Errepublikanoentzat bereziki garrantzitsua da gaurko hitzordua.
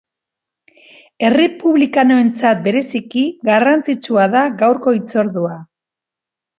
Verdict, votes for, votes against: accepted, 2, 0